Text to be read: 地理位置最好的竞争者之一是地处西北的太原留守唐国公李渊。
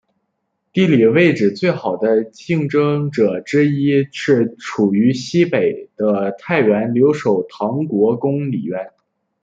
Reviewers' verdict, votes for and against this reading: rejected, 1, 2